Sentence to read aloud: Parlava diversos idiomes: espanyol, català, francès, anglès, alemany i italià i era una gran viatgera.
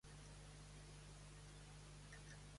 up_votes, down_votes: 0, 2